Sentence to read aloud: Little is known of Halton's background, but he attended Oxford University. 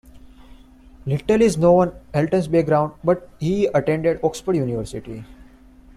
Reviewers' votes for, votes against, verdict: 0, 2, rejected